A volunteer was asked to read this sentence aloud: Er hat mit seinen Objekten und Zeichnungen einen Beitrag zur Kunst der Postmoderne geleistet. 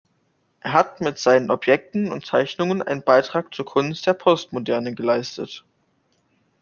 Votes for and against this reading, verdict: 2, 0, accepted